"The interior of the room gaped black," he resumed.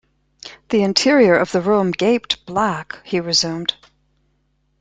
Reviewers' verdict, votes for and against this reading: accepted, 2, 0